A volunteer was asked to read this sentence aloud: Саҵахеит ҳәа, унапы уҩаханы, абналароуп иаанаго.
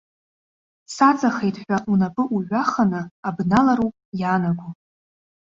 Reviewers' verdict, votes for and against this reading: accepted, 2, 0